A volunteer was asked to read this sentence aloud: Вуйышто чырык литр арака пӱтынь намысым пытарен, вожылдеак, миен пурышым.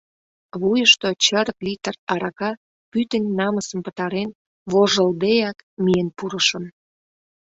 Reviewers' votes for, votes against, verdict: 0, 2, rejected